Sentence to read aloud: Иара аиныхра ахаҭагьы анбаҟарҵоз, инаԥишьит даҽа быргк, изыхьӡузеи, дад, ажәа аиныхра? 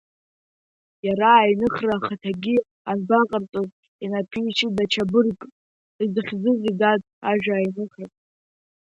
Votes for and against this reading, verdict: 2, 0, accepted